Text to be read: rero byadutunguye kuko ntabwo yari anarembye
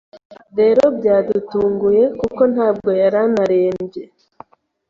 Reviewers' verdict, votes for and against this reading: accepted, 2, 0